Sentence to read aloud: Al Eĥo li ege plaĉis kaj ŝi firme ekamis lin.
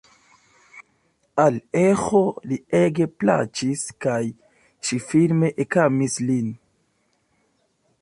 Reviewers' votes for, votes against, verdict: 0, 2, rejected